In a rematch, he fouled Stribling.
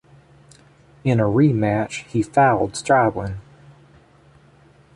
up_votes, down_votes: 2, 0